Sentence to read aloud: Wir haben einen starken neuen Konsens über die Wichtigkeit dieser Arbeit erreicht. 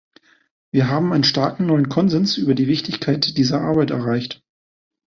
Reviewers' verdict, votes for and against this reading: accepted, 2, 0